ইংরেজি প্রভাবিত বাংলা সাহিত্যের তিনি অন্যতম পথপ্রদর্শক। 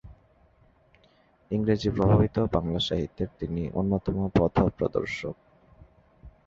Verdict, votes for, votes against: rejected, 1, 2